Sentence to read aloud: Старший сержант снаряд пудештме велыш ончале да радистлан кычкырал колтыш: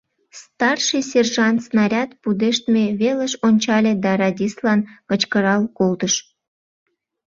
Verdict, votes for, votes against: accepted, 2, 0